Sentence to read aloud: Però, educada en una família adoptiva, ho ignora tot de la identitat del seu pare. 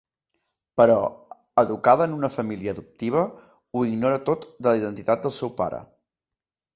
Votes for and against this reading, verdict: 2, 0, accepted